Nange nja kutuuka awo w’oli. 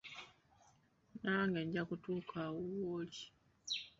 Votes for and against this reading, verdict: 2, 0, accepted